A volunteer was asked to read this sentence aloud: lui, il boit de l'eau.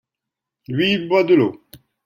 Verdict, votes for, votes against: accepted, 2, 0